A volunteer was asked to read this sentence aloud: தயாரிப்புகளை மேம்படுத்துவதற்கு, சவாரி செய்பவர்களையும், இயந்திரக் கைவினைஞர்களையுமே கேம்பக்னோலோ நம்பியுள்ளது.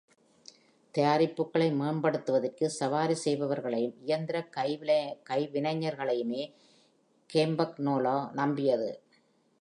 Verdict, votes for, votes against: rejected, 1, 2